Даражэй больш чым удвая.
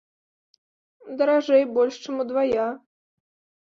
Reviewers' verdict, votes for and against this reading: accepted, 2, 0